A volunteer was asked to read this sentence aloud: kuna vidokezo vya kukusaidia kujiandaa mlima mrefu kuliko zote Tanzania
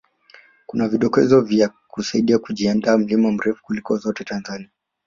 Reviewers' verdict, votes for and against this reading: rejected, 1, 2